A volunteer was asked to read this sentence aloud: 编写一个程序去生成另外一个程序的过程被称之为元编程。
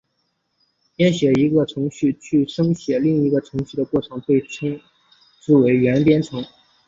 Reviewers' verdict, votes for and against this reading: rejected, 2, 3